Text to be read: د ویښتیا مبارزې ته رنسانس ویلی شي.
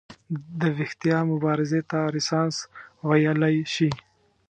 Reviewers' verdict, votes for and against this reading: accepted, 2, 0